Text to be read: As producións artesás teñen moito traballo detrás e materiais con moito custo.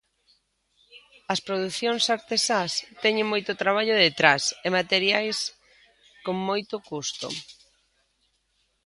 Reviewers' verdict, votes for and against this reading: accepted, 2, 0